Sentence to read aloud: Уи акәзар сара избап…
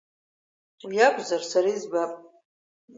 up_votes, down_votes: 3, 0